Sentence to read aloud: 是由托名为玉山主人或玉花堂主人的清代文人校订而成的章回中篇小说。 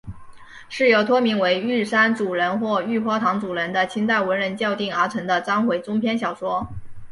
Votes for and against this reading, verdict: 4, 0, accepted